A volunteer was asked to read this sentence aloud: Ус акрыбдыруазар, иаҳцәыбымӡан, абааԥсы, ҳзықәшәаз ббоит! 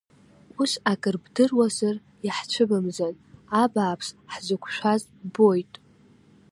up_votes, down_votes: 2, 0